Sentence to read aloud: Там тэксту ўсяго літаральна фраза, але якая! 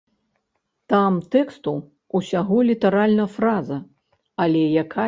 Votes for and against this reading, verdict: 1, 2, rejected